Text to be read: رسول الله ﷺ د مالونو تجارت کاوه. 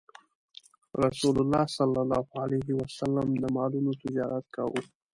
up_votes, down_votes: 2, 0